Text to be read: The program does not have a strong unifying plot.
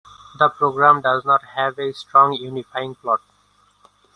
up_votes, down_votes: 2, 0